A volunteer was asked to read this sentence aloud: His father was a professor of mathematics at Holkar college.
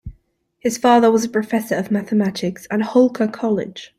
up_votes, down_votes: 2, 0